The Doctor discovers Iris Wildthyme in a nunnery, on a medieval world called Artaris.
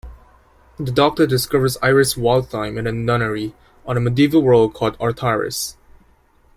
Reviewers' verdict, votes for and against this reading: accepted, 2, 1